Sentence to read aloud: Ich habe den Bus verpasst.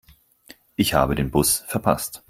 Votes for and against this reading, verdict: 4, 0, accepted